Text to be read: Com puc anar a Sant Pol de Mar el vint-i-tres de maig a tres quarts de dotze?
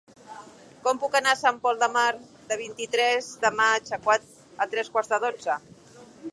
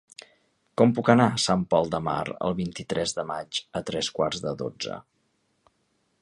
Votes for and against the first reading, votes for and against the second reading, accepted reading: 0, 3, 3, 0, second